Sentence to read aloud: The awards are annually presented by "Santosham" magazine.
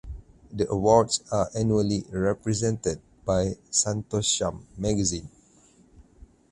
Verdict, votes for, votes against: rejected, 0, 4